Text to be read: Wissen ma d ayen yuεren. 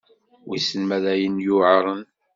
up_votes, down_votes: 2, 0